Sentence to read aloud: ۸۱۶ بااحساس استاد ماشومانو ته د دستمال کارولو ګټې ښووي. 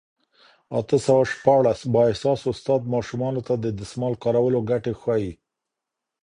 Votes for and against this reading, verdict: 0, 2, rejected